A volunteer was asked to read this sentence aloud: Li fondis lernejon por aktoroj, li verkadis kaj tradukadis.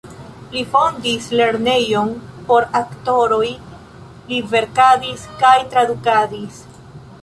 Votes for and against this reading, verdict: 1, 2, rejected